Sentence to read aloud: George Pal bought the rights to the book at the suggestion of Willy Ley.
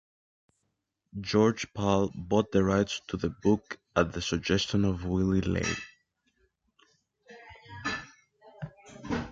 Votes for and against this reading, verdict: 2, 0, accepted